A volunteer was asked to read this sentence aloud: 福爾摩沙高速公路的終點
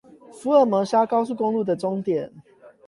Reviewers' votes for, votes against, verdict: 8, 0, accepted